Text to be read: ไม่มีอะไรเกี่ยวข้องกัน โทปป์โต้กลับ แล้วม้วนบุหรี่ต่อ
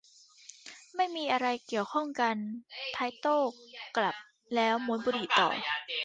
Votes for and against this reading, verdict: 0, 2, rejected